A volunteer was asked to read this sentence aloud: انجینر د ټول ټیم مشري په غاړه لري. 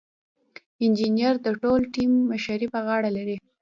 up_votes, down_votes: 2, 0